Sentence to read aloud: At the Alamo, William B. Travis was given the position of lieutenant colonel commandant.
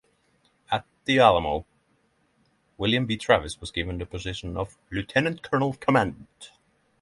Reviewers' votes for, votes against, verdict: 6, 0, accepted